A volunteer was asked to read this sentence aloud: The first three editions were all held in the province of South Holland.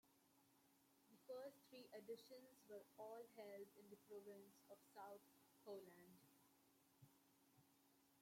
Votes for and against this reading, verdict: 1, 2, rejected